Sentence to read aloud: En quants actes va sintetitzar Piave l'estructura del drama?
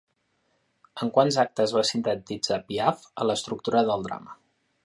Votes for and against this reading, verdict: 1, 2, rejected